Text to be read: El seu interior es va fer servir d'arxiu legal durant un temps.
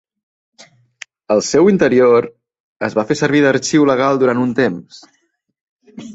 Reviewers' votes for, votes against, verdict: 3, 0, accepted